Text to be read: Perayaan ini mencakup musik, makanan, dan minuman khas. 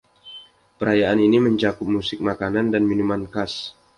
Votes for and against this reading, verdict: 2, 0, accepted